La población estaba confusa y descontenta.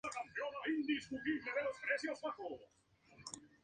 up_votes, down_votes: 0, 2